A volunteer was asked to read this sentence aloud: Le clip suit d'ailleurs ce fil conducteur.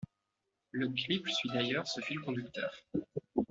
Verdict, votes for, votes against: accepted, 2, 1